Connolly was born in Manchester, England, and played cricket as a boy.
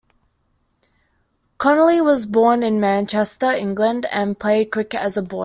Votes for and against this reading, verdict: 0, 2, rejected